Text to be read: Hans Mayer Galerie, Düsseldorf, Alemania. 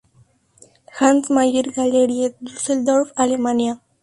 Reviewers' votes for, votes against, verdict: 2, 0, accepted